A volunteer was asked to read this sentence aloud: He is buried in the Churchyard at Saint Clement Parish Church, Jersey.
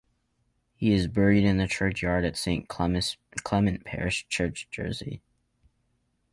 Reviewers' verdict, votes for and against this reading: rejected, 2, 4